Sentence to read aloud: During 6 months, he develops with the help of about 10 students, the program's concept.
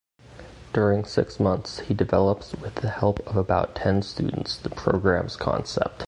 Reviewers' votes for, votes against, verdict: 0, 2, rejected